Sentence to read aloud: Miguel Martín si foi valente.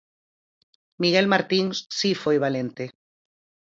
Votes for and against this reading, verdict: 0, 4, rejected